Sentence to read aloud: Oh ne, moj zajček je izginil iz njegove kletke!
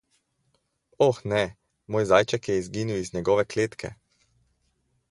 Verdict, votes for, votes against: accepted, 4, 0